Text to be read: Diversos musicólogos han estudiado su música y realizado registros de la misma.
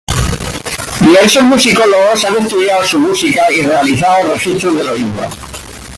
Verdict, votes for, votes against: rejected, 0, 2